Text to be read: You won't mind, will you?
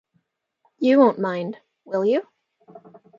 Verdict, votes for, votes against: accepted, 2, 0